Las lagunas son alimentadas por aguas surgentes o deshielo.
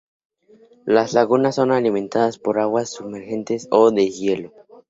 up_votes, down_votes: 0, 2